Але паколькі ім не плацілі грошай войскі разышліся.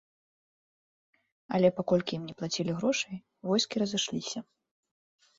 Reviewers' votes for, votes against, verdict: 2, 0, accepted